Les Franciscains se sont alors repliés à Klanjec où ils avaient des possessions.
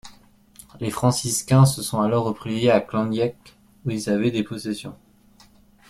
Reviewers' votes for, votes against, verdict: 1, 2, rejected